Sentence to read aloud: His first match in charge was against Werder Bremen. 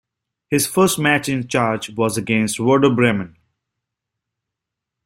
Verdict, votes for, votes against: accepted, 3, 0